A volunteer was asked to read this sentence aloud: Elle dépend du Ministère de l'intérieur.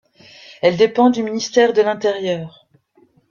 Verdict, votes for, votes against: accepted, 2, 0